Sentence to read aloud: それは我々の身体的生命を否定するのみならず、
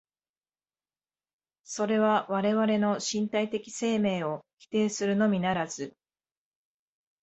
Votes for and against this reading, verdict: 2, 0, accepted